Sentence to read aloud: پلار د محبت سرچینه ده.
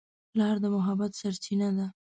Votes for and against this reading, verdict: 2, 0, accepted